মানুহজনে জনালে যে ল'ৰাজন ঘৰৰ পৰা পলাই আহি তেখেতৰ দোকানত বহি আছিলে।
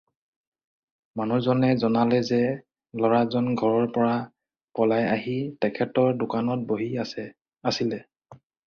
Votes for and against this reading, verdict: 0, 4, rejected